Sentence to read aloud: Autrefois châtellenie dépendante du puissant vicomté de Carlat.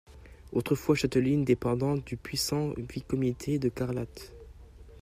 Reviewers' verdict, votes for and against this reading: rejected, 1, 2